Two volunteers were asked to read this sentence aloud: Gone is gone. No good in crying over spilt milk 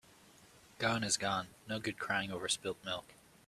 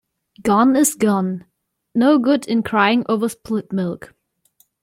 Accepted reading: first